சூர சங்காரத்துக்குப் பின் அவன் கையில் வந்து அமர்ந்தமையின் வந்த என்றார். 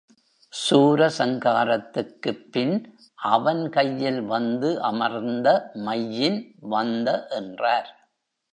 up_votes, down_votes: 1, 2